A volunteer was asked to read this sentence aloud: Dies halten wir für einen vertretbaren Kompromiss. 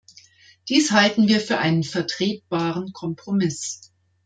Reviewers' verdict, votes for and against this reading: accepted, 2, 0